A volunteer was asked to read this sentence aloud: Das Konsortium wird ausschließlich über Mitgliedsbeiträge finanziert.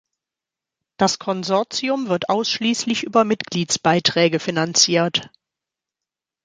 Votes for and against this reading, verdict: 2, 0, accepted